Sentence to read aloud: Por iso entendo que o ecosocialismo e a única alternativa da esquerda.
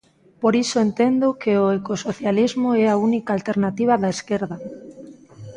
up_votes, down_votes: 1, 2